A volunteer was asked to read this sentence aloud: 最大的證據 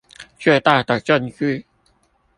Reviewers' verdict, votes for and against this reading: accepted, 2, 0